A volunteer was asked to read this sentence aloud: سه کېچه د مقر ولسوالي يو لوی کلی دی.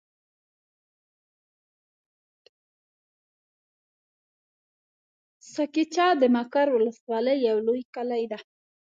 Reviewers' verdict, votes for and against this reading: rejected, 0, 2